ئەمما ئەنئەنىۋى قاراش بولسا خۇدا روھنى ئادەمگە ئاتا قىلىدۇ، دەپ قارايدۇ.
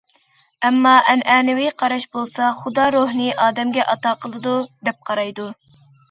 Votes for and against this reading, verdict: 2, 0, accepted